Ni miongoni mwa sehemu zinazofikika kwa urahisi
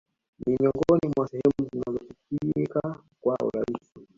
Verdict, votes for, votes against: rejected, 0, 2